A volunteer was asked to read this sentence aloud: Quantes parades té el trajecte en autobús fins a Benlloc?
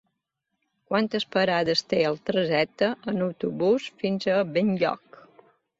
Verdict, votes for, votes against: rejected, 1, 2